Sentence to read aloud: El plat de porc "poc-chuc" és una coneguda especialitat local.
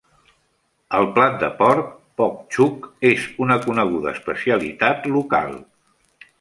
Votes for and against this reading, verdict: 2, 0, accepted